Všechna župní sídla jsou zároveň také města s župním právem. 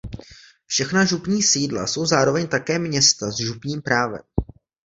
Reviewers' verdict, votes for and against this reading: accepted, 2, 0